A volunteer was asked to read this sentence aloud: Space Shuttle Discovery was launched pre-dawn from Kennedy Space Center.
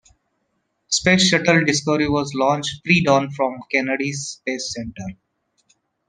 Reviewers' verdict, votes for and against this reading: accepted, 2, 0